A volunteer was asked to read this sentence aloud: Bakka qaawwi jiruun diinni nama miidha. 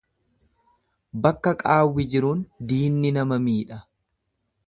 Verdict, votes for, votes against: accepted, 2, 0